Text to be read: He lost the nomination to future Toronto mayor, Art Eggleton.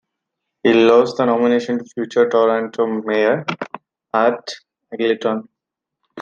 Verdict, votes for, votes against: rejected, 1, 2